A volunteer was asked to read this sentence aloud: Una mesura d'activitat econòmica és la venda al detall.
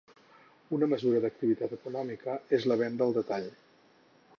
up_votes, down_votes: 4, 0